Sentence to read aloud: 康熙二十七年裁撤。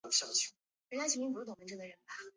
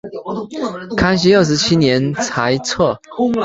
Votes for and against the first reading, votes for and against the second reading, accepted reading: 0, 2, 3, 2, second